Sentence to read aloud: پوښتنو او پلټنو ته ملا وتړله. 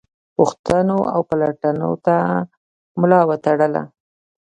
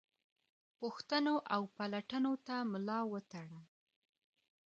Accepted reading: second